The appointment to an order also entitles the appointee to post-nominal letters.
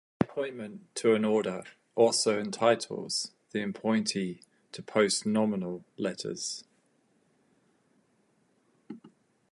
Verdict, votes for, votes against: rejected, 2, 2